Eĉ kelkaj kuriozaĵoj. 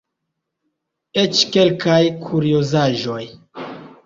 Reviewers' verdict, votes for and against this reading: accepted, 2, 0